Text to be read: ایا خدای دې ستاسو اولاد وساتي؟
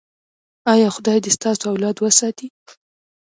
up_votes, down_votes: 0, 2